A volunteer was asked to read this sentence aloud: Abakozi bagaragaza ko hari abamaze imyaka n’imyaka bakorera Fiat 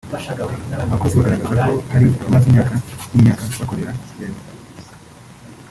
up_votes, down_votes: 0, 2